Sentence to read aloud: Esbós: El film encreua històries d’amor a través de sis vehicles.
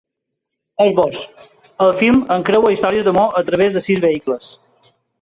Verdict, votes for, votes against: rejected, 1, 2